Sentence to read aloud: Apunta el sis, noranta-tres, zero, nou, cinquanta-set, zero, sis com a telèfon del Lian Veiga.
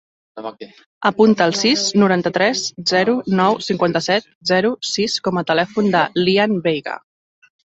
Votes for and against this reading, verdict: 1, 2, rejected